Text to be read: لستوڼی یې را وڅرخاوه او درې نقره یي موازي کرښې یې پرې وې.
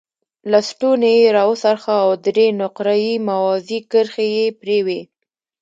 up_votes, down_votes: 2, 0